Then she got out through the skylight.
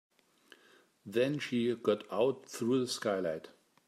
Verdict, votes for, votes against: accepted, 3, 0